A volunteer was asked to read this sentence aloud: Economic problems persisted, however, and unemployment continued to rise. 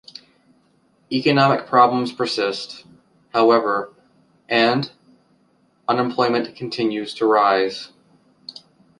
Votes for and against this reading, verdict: 1, 2, rejected